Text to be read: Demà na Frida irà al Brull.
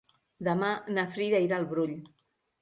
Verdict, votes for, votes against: accepted, 3, 0